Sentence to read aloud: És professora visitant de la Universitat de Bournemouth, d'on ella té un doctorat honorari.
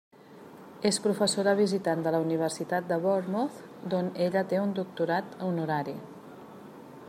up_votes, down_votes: 3, 0